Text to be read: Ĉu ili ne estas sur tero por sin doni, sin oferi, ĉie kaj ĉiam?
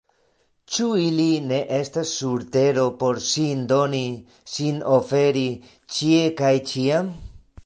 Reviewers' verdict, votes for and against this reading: rejected, 1, 2